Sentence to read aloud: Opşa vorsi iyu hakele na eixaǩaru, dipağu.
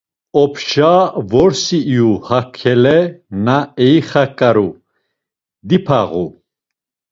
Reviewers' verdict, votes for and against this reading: accepted, 2, 0